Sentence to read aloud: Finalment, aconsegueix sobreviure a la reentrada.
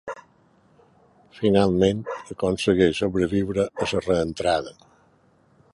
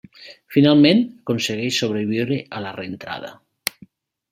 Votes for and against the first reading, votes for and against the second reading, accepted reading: 1, 2, 3, 0, second